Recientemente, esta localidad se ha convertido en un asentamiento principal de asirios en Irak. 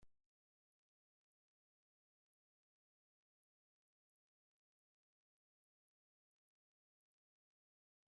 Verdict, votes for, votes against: rejected, 0, 2